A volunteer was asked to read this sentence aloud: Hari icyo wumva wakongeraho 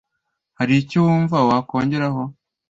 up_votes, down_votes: 2, 0